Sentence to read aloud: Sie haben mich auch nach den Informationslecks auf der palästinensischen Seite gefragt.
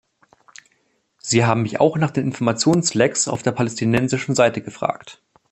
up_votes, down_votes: 2, 0